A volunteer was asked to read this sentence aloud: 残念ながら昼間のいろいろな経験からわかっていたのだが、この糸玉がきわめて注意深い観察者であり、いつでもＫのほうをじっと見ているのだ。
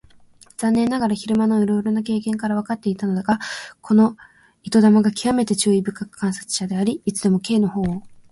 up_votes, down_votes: 0, 2